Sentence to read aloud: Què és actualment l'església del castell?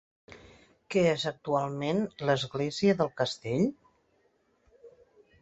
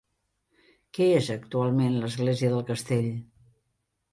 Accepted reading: second